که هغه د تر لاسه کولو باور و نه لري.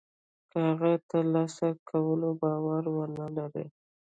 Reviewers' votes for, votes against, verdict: 0, 2, rejected